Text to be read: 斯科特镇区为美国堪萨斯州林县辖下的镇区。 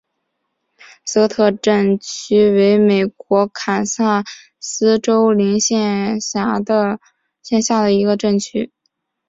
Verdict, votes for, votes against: accepted, 2, 0